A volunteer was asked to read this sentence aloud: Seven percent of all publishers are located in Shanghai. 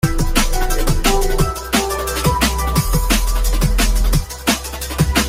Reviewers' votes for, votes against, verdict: 0, 2, rejected